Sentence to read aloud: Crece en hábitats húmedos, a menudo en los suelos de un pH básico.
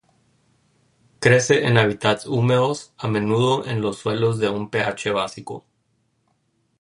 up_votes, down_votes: 2, 0